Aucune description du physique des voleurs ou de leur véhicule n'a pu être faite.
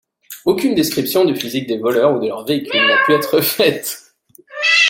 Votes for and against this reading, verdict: 0, 2, rejected